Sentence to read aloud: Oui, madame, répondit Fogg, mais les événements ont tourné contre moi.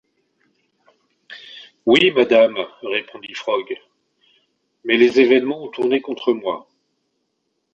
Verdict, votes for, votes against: rejected, 1, 2